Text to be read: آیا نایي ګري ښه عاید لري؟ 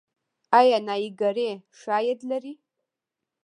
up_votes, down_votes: 1, 2